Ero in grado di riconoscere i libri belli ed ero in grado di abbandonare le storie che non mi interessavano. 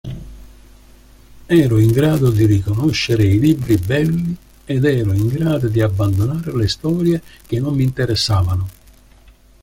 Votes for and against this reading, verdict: 2, 0, accepted